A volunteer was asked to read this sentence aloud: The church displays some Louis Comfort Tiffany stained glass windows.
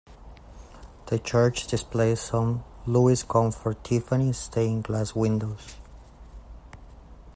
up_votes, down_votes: 2, 0